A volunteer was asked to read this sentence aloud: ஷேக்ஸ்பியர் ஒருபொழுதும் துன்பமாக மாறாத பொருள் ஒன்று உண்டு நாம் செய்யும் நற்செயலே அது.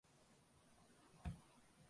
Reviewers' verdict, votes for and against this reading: rejected, 0, 2